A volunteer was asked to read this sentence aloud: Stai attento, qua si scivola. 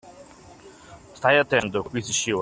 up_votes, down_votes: 0, 2